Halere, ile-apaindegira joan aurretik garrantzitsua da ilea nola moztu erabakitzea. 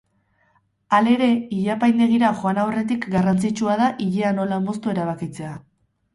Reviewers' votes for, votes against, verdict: 4, 0, accepted